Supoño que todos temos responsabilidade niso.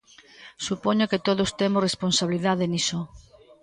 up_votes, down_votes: 1, 2